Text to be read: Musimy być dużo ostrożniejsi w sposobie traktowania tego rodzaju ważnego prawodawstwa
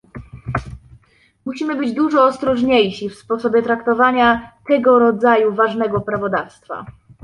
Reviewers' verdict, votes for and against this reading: accepted, 2, 0